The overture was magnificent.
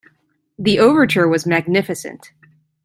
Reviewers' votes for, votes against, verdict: 2, 0, accepted